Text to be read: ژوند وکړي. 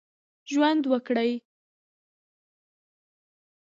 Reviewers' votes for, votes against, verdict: 1, 2, rejected